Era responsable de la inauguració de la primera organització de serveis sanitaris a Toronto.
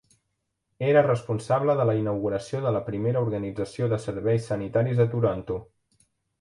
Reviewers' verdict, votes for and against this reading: accepted, 3, 1